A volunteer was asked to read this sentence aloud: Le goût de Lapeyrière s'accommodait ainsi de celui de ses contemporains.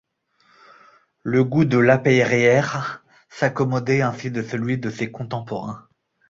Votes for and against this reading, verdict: 1, 2, rejected